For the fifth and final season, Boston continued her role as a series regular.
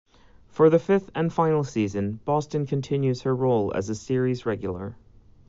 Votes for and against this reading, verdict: 2, 3, rejected